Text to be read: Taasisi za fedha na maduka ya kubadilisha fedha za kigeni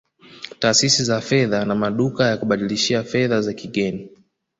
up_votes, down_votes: 1, 2